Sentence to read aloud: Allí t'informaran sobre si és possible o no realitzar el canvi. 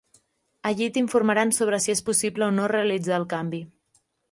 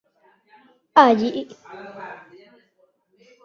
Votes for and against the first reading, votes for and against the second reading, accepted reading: 3, 0, 0, 2, first